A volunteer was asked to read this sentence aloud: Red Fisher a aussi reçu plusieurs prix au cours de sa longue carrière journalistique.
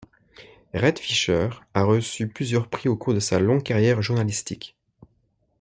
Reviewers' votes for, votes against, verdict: 2, 0, accepted